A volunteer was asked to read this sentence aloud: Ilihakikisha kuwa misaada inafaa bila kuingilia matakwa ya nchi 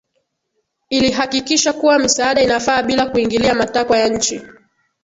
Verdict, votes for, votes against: rejected, 2, 2